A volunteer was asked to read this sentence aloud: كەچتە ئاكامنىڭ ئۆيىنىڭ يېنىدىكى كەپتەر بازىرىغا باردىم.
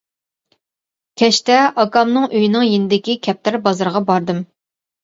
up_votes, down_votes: 2, 0